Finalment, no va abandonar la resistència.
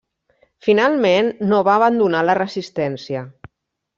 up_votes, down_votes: 1, 2